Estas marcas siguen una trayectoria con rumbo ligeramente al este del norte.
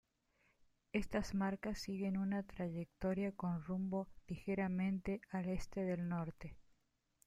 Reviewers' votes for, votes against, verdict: 2, 1, accepted